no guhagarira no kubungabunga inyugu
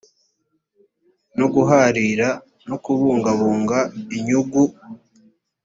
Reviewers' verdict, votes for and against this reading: rejected, 1, 2